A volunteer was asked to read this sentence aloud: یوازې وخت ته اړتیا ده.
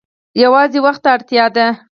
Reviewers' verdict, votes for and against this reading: accepted, 4, 0